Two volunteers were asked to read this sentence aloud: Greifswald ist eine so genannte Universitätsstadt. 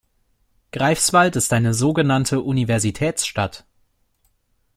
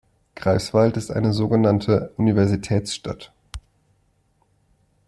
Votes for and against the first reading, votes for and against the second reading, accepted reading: 2, 0, 1, 2, first